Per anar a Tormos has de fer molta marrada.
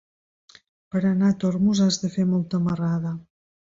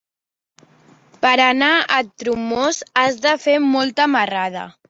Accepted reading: first